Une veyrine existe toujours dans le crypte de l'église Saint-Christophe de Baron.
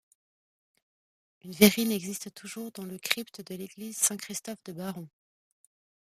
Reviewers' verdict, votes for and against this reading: accepted, 2, 0